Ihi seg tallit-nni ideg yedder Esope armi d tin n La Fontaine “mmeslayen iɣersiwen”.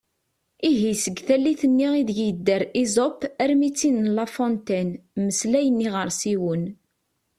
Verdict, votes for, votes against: accepted, 2, 0